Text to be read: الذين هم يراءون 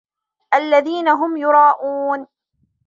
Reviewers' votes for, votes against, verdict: 0, 2, rejected